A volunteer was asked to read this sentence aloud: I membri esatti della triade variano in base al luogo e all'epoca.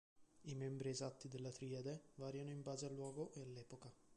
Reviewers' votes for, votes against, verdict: 2, 1, accepted